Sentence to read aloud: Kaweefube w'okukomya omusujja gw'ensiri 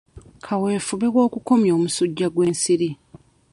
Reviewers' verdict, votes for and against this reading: accepted, 2, 0